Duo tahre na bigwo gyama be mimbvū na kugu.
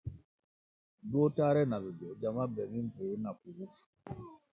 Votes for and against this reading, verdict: 0, 2, rejected